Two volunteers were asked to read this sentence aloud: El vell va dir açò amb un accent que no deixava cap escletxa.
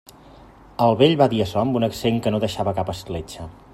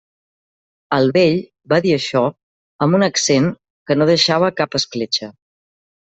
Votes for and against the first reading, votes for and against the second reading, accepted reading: 2, 0, 1, 2, first